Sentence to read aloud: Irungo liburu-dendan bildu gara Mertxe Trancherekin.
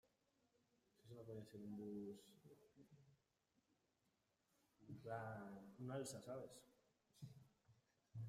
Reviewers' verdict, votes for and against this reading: rejected, 0, 2